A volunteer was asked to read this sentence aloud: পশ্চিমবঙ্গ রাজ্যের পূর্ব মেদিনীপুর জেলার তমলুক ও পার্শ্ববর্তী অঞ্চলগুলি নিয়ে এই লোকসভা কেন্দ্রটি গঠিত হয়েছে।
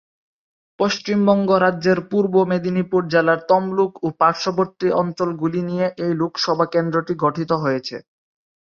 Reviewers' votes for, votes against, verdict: 3, 0, accepted